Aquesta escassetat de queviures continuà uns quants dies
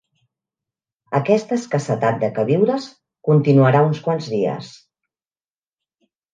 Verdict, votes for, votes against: rejected, 1, 2